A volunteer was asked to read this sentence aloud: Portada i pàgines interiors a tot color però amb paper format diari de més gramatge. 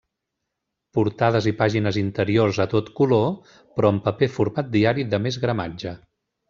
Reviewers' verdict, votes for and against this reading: rejected, 1, 2